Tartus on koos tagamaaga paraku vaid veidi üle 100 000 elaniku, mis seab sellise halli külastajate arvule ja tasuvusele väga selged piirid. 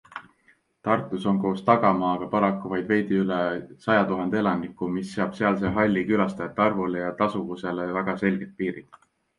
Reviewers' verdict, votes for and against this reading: rejected, 0, 2